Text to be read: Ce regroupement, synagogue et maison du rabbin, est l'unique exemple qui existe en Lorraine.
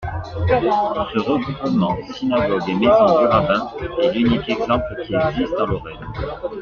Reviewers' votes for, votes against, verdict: 2, 1, accepted